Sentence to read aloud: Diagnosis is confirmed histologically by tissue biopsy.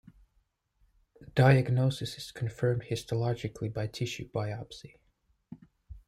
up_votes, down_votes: 2, 0